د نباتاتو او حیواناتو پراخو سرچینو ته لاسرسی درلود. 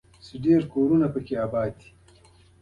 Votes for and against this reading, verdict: 2, 1, accepted